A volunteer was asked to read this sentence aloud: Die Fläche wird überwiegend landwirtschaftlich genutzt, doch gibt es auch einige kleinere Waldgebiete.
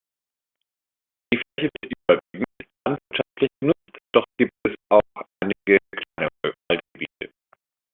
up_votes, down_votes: 0, 2